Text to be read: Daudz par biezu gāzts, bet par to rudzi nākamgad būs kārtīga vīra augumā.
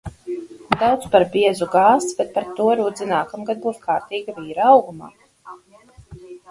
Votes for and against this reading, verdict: 0, 4, rejected